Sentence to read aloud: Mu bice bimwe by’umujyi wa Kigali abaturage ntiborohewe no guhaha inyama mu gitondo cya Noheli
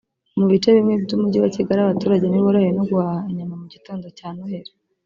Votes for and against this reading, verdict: 2, 0, accepted